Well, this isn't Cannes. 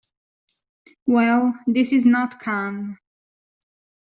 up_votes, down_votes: 1, 2